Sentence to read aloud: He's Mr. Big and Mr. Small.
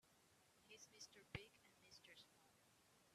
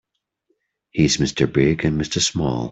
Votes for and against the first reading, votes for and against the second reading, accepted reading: 1, 2, 3, 0, second